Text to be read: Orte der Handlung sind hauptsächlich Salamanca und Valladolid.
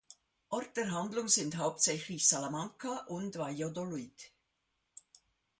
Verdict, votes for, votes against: rejected, 0, 2